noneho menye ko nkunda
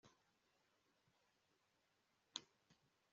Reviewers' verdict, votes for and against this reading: rejected, 0, 2